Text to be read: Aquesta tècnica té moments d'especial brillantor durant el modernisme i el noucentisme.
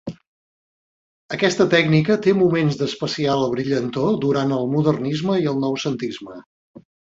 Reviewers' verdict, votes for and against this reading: accepted, 2, 0